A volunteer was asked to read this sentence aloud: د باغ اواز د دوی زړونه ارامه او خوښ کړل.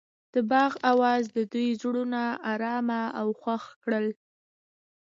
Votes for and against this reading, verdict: 2, 0, accepted